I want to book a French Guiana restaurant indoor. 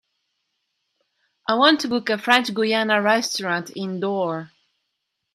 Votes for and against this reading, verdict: 2, 0, accepted